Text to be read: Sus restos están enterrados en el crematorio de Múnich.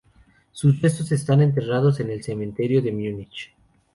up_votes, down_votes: 0, 2